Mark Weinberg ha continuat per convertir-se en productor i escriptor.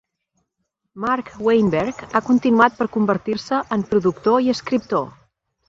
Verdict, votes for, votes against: accepted, 2, 0